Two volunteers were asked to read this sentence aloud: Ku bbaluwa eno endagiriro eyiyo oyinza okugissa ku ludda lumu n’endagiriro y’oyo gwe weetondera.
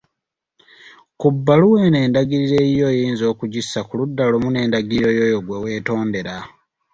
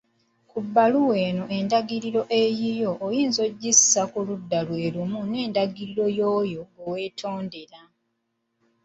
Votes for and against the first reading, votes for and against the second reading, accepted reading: 2, 0, 1, 2, first